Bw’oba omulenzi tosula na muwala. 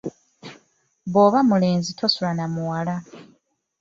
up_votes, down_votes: 0, 2